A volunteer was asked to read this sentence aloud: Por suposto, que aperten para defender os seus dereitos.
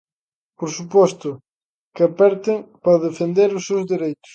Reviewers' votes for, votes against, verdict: 0, 2, rejected